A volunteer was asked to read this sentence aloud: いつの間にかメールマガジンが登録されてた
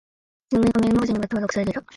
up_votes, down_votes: 2, 3